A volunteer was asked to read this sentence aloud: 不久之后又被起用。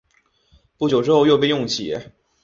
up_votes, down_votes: 3, 0